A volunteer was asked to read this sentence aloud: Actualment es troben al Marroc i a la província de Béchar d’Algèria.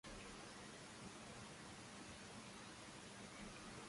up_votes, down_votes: 0, 2